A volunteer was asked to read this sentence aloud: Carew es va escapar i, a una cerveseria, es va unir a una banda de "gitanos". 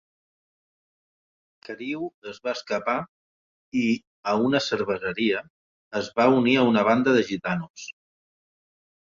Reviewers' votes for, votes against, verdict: 6, 0, accepted